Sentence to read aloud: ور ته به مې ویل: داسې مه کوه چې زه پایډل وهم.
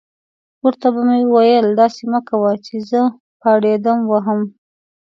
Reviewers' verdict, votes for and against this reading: rejected, 1, 2